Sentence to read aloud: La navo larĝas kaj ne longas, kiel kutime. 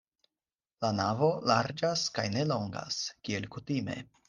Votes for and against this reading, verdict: 4, 0, accepted